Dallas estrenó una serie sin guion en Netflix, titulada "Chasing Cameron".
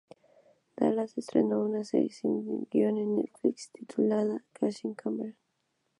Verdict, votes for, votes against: rejected, 0, 2